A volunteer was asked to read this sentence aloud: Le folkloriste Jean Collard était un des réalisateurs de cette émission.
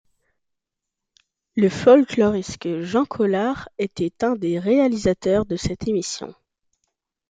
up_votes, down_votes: 1, 2